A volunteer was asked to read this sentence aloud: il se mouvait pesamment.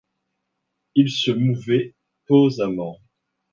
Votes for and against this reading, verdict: 1, 2, rejected